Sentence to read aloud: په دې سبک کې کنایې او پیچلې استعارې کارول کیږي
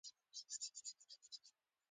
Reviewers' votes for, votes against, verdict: 2, 0, accepted